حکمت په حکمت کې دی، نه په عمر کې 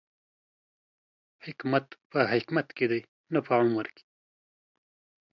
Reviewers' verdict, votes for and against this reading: accepted, 2, 0